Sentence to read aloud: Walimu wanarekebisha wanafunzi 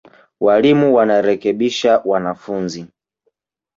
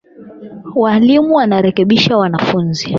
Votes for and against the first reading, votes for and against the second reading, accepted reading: 5, 1, 4, 8, first